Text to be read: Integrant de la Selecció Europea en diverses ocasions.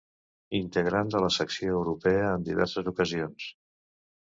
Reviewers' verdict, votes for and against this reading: rejected, 0, 2